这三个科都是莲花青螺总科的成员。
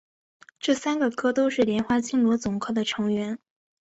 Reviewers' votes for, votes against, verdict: 2, 0, accepted